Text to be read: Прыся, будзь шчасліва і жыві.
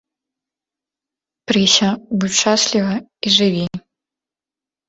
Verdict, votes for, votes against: rejected, 1, 2